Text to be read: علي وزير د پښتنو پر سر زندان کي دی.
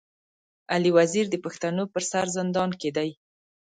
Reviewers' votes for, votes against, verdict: 3, 0, accepted